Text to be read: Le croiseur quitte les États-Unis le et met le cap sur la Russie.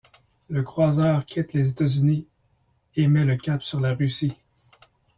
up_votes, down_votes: 0, 2